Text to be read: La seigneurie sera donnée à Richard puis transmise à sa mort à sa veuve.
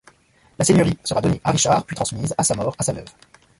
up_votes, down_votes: 2, 0